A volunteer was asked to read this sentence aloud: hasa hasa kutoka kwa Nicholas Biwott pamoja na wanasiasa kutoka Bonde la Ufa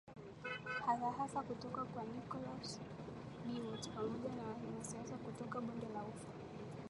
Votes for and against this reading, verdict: 2, 0, accepted